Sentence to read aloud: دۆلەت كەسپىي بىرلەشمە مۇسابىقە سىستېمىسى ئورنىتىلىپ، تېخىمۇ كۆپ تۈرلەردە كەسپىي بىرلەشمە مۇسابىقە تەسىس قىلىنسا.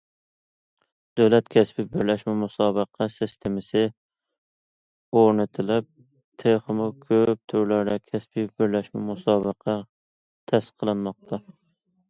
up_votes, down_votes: 0, 2